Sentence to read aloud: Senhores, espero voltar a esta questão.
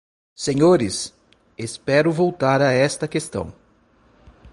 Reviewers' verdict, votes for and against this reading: accepted, 2, 0